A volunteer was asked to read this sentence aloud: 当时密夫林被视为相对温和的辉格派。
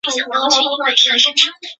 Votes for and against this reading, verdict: 3, 6, rejected